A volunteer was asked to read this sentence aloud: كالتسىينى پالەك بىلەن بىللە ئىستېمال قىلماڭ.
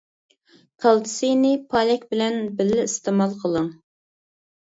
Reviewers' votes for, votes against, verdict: 0, 2, rejected